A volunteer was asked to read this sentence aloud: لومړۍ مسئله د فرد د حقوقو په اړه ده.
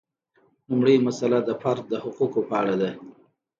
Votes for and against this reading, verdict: 2, 0, accepted